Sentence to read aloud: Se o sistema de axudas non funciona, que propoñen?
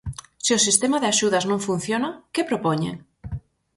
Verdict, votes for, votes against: accepted, 4, 0